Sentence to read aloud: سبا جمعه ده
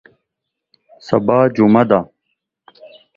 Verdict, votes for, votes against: accepted, 2, 0